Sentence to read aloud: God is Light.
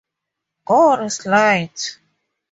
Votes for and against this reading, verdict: 6, 0, accepted